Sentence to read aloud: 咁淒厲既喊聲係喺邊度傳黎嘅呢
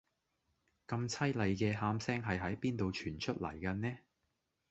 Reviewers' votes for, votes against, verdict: 0, 2, rejected